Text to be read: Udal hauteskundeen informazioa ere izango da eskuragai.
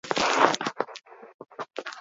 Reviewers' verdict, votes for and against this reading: rejected, 0, 2